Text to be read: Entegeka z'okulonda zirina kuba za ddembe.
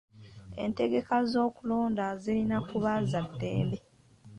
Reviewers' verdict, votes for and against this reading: accepted, 2, 0